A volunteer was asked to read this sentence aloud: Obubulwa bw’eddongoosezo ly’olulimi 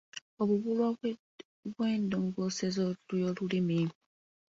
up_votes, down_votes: 1, 2